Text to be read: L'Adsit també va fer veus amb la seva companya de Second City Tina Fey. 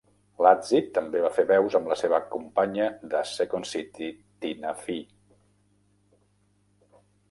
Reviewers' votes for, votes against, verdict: 0, 2, rejected